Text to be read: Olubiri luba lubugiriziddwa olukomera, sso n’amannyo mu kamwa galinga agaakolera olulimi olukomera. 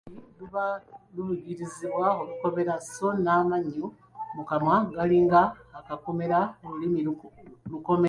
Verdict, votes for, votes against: rejected, 0, 2